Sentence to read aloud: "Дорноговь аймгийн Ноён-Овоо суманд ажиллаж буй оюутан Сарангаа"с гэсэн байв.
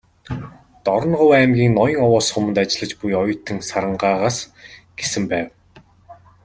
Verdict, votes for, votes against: accepted, 2, 0